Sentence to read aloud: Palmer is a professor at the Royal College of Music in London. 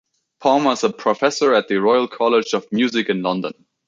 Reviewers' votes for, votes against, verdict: 2, 1, accepted